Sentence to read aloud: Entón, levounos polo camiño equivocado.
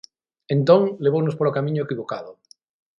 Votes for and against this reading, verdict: 6, 0, accepted